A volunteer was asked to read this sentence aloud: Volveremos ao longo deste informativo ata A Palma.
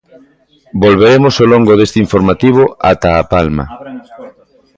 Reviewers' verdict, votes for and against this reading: rejected, 1, 2